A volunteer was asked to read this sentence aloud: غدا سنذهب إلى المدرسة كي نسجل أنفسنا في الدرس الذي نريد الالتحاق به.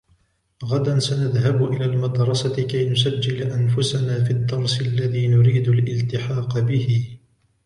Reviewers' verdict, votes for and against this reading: rejected, 1, 2